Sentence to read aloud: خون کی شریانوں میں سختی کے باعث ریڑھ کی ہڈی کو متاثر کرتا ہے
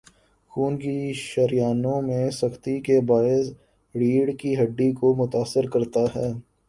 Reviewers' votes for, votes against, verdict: 1, 2, rejected